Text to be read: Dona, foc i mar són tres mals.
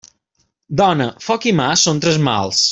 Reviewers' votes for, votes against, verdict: 2, 1, accepted